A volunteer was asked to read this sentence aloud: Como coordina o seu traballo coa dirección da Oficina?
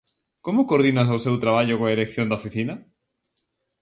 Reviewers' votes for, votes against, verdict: 0, 2, rejected